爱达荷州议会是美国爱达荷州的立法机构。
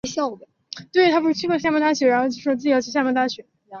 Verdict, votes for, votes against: rejected, 0, 2